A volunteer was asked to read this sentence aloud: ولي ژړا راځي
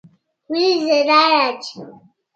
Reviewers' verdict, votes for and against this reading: rejected, 0, 2